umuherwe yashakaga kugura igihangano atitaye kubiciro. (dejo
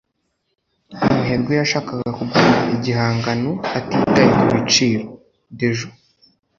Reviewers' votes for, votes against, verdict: 2, 1, accepted